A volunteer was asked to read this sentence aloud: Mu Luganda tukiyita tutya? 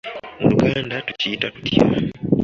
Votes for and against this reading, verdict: 2, 0, accepted